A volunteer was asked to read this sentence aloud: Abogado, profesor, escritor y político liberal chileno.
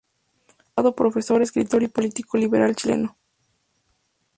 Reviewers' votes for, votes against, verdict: 0, 2, rejected